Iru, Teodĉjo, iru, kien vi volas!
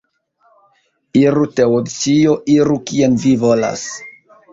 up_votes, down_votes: 0, 2